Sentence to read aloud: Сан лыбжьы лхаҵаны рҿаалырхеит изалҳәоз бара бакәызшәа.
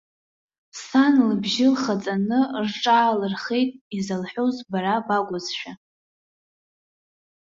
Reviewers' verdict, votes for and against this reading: accepted, 2, 1